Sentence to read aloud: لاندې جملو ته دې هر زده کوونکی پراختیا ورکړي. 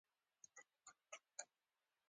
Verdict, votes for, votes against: accepted, 2, 0